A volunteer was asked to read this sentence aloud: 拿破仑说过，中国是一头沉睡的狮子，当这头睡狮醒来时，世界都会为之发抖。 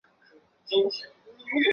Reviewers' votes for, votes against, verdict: 0, 3, rejected